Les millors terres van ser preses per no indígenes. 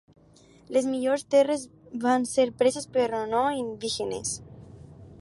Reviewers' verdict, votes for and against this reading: rejected, 0, 4